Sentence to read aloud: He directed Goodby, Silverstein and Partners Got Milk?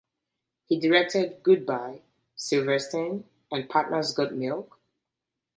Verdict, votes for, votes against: rejected, 0, 2